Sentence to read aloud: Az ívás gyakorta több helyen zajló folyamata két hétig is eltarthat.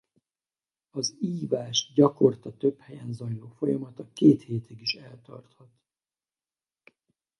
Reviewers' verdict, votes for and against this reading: rejected, 2, 2